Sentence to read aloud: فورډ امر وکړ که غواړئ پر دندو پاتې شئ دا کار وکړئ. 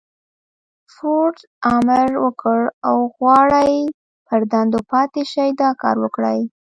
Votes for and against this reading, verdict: 1, 2, rejected